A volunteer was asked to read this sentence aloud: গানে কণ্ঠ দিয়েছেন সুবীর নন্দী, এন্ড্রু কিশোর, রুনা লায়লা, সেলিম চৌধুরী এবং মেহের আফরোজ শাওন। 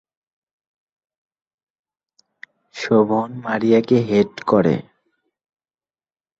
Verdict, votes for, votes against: rejected, 0, 3